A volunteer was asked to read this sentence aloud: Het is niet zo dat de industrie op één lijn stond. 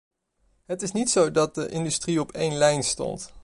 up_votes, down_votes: 2, 0